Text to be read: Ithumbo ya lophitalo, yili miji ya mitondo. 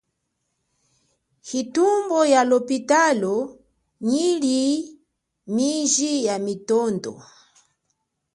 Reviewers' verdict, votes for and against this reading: rejected, 0, 2